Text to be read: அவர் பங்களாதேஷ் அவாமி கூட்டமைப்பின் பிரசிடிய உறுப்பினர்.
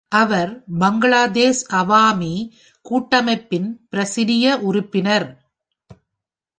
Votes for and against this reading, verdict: 2, 0, accepted